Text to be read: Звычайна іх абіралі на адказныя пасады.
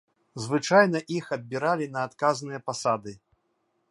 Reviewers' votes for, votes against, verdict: 2, 0, accepted